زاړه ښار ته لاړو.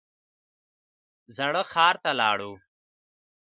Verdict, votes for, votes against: rejected, 0, 2